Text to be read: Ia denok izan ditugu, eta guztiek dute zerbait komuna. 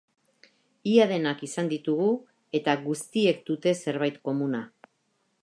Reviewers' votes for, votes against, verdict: 0, 2, rejected